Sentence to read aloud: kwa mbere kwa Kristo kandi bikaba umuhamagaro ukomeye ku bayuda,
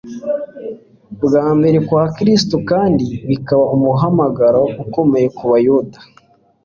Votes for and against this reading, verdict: 2, 0, accepted